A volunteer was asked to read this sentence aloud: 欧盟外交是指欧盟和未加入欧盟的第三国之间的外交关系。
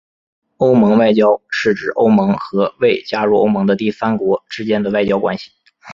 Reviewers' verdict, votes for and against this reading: accepted, 2, 1